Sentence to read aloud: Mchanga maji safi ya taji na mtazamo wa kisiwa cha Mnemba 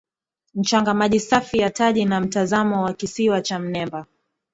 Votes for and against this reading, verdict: 3, 0, accepted